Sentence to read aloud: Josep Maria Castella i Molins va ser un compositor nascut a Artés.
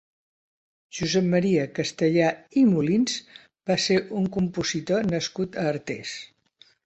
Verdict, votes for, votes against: rejected, 1, 3